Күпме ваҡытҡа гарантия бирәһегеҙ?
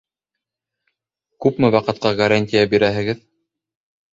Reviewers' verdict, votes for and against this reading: accepted, 2, 0